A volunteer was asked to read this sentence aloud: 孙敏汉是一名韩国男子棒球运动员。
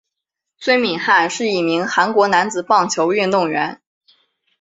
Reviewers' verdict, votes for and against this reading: accepted, 7, 0